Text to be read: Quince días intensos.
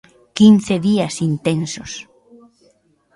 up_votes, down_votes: 2, 0